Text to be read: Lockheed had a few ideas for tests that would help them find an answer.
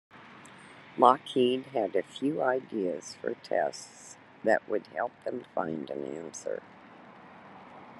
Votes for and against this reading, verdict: 2, 0, accepted